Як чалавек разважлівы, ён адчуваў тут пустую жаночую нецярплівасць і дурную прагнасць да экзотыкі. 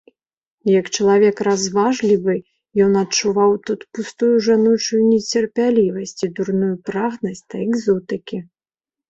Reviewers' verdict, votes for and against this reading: rejected, 1, 2